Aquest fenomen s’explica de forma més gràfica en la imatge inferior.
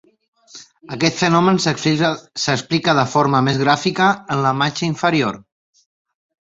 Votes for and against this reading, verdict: 0, 2, rejected